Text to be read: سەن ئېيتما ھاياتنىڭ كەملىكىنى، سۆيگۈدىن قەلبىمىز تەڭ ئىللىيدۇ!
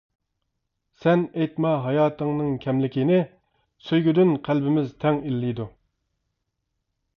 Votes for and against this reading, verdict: 0, 2, rejected